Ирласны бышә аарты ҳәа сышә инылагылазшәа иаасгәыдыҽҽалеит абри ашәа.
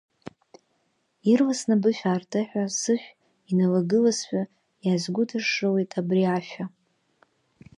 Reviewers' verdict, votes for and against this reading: rejected, 1, 2